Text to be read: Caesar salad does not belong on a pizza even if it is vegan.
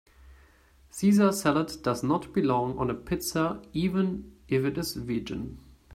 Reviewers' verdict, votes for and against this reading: rejected, 0, 2